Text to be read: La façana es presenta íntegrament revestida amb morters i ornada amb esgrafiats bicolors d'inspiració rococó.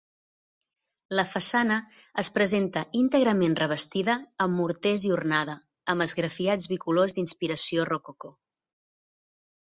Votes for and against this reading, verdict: 2, 0, accepted